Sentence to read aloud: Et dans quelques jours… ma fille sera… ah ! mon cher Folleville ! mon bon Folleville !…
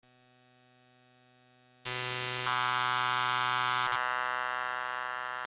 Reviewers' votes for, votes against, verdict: 0, 2, rejected